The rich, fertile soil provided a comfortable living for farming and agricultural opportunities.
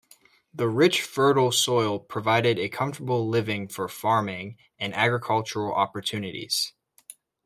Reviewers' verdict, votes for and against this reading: accepted, 2, 0